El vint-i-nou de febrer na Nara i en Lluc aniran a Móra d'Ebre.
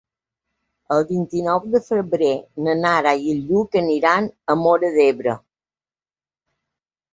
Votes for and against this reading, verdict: 2, 0, accepted